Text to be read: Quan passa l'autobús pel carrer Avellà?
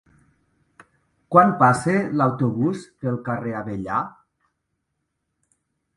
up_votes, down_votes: 2, 0